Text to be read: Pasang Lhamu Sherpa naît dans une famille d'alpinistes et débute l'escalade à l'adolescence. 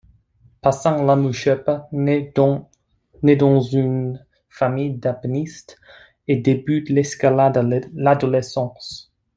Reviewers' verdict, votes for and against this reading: rejected, 1, 2